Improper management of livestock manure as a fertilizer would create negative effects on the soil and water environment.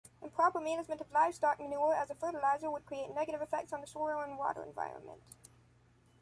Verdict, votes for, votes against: accepted, 2, 0